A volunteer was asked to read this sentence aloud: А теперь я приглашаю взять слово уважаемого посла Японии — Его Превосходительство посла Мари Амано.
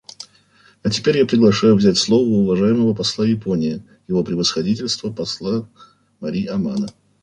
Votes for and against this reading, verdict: 2, 0, accepted